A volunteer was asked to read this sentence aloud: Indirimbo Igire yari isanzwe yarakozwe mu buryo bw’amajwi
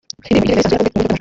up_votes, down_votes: 0, 2